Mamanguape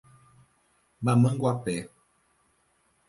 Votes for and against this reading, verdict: 0, 2, rejected